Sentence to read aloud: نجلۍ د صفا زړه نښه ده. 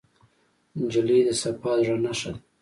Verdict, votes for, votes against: rejected, 0, 2